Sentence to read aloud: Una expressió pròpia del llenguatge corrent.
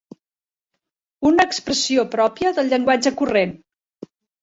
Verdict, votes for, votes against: rejected, 1, 2